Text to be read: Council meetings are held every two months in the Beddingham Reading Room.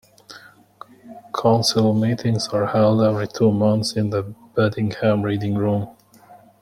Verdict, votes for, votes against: accepted, 2, 1